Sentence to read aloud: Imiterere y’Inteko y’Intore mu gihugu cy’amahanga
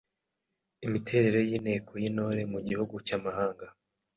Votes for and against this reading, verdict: 2, 0, accepted